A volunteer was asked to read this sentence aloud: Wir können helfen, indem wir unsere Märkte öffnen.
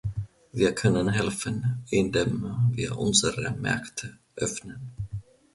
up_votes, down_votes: 4, 0